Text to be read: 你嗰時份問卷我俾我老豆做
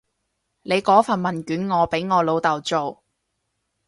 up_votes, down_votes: 2, 4